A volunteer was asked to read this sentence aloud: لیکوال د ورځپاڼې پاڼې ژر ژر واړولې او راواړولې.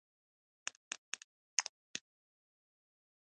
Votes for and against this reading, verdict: 1, 2, rejected